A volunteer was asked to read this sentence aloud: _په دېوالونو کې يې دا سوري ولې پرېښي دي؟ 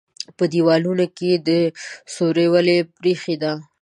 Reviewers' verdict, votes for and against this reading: rejected, 1, 2